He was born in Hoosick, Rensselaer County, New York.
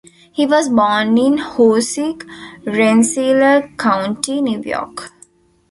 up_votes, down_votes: 1, 2